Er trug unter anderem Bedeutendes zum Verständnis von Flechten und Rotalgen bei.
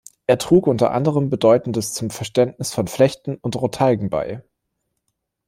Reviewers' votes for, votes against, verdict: 1, 2, rejected